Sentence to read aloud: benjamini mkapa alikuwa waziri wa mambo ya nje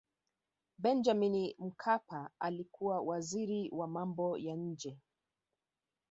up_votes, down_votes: 2, 1